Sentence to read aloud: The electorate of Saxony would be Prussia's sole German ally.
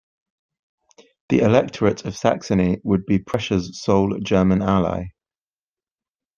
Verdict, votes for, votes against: accepted, 2, 0